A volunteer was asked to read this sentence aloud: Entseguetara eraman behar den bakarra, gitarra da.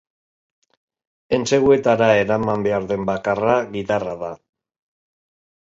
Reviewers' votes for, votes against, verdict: 3, 0, accepted